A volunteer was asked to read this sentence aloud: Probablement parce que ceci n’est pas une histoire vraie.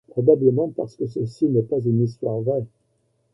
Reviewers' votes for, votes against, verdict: 2, 0, accepted